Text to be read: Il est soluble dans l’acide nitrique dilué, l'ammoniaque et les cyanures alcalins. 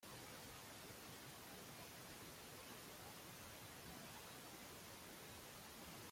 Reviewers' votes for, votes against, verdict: 0, 2, rejected